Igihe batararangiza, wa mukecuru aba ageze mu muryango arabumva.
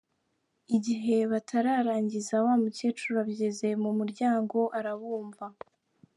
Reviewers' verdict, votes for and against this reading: accepted, 2, 1